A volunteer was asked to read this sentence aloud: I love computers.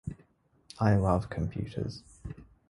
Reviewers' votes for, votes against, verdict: 2, 0, accepted